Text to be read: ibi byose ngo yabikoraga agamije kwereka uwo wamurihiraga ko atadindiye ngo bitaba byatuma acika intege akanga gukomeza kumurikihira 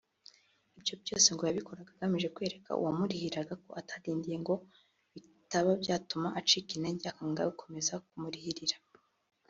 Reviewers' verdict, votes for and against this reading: accepted, 2, 0